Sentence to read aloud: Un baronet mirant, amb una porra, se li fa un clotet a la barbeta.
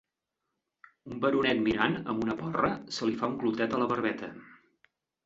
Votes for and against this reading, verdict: 4, 2, accepted